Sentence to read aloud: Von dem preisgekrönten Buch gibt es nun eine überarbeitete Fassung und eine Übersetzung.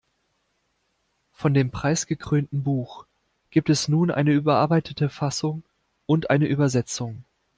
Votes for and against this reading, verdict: 2, 0, accepted